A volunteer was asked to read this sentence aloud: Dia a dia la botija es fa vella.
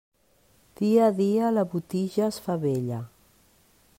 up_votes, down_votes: 2, 0